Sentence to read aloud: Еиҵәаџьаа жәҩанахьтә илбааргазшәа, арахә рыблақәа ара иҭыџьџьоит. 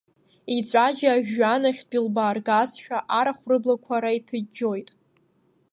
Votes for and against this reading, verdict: 2, 0, accepted